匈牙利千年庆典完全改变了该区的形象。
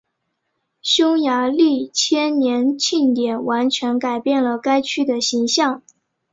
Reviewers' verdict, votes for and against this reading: accepted, 3, 0